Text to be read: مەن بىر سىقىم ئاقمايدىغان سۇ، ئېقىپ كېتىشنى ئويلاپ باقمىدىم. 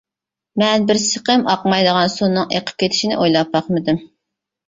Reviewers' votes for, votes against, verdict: 0, 2, rejected